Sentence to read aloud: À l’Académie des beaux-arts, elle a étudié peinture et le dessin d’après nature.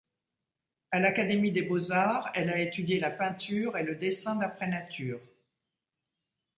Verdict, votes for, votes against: rejected, 0, 2